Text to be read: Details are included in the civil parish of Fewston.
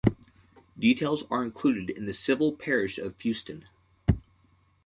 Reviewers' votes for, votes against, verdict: 2, 0, accepted